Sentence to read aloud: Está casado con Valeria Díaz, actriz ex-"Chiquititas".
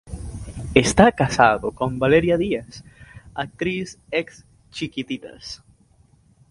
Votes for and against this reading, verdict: 2, 0, accepted